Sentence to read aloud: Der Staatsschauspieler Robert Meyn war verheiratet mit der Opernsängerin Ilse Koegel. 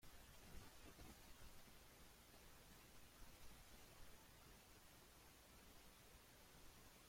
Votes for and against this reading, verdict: 0, 2, rejected